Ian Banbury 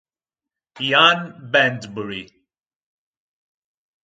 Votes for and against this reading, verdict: 4, 2, accepted